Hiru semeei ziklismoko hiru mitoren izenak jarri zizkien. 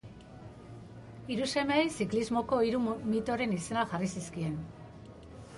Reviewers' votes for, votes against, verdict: 0, 2, rejected